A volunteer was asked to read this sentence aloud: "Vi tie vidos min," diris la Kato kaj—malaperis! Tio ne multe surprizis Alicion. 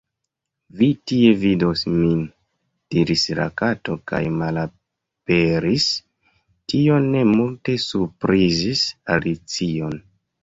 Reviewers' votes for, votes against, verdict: 0, 2, rejected